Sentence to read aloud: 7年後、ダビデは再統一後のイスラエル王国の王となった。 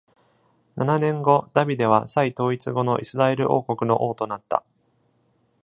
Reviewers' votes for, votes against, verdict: 0, 2, rejected